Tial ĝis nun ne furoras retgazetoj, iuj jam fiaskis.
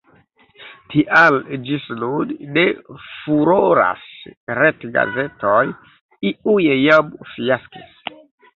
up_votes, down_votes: 1, 2